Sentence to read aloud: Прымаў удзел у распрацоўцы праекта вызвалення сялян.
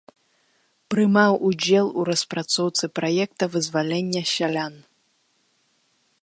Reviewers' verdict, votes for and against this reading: rejected, 0, 3